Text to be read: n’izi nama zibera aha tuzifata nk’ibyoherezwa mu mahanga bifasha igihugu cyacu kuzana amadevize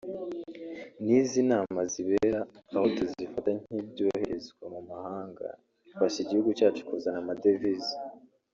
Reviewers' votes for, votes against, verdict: 1, 2, rejected